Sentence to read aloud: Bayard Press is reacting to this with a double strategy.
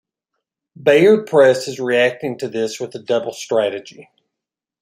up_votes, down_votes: 2, 0